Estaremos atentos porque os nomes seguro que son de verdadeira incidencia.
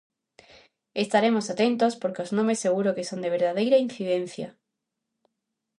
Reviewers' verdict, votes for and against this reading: accepted, 2, 0